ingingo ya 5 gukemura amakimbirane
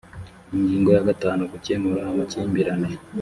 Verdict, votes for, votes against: rejected, 0, 2